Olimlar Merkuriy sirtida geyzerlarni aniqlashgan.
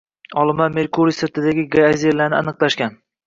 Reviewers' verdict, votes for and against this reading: rejected, 0, 2